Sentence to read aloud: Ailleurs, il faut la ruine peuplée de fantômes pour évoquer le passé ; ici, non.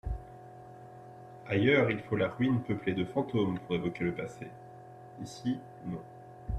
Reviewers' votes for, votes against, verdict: 2, 0, accepted